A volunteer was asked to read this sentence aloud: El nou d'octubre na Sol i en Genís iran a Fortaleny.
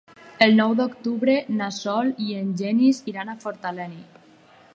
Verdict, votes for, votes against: rejected, 2, 4